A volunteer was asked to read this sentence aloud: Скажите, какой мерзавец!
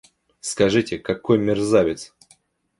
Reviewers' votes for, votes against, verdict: 2, 0, accepted